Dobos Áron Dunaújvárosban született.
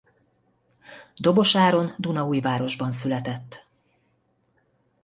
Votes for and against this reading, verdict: 2, 0, accepted